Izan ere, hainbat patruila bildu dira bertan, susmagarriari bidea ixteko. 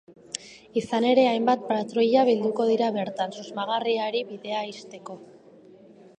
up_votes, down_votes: 0, 2